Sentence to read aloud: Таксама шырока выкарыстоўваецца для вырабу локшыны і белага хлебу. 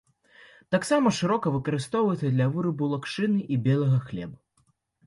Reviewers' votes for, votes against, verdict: 1, 2, rejected